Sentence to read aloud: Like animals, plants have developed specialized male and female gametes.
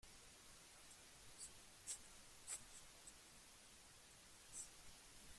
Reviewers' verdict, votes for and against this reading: rejected, 0, 2